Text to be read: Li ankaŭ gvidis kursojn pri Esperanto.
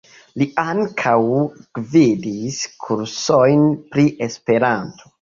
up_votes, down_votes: 1, 3